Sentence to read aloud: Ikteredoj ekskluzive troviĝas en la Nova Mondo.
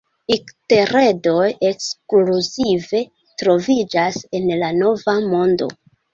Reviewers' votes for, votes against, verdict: 2, 1, accepted